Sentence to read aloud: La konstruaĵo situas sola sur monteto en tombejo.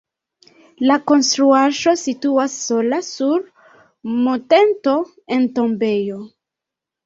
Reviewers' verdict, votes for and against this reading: accepted, 2, 0